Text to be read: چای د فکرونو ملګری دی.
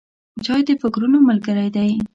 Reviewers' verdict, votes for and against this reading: accepted, 2, 0